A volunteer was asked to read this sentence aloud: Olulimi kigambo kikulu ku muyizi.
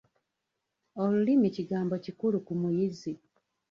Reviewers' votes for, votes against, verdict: 0, 2, rejected